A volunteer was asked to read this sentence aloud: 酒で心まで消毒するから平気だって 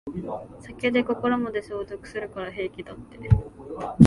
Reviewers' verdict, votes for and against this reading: accepted, 2, 0